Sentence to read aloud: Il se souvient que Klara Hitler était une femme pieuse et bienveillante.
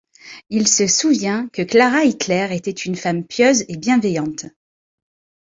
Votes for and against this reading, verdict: 2, 0, accepted